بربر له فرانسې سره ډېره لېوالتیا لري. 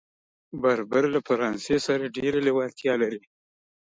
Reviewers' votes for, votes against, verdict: 3, 0, accepted